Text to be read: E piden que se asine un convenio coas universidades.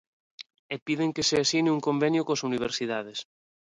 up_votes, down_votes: 2, 0